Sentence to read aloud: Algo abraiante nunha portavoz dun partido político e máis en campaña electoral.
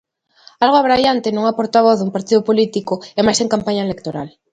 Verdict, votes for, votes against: accepted, 2, 0